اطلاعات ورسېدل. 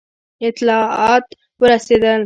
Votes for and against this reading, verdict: 0, 2, rejected